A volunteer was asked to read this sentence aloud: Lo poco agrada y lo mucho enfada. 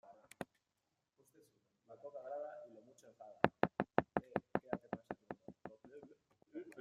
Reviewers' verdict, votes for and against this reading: rejected, 0, 2